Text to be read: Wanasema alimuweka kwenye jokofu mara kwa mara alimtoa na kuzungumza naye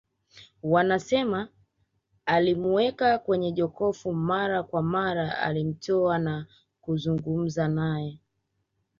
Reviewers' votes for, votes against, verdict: 2, 0, accepted